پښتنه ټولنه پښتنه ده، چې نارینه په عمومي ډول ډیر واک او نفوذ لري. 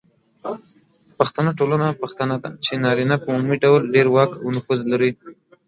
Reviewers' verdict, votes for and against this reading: rejected, 1, 2